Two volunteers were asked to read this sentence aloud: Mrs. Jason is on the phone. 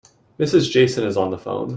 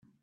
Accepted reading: first